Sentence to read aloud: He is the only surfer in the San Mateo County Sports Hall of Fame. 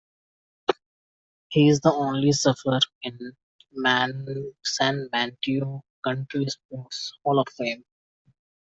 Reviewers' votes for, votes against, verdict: 1, 2, rejected